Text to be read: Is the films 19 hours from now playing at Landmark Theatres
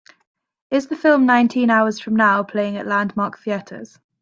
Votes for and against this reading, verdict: 0, 2, rejected